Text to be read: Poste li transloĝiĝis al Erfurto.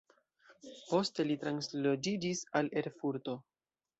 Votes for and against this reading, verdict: 0, 2, rejected